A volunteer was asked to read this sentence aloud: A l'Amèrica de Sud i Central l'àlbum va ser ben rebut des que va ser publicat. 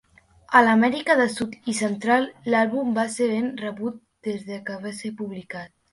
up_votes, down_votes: 1, 2